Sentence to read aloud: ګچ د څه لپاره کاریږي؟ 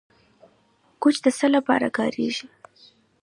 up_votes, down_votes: 2, 0